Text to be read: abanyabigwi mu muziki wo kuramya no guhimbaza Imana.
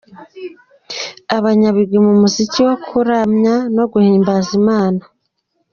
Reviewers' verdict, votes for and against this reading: rejected, 1, 2